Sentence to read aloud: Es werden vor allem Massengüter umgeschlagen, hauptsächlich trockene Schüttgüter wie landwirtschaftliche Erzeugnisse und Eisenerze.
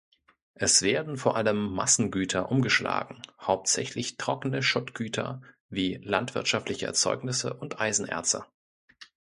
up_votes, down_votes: 0, 2